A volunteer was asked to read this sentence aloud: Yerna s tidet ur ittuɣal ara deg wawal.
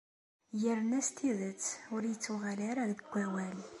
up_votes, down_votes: 2, 0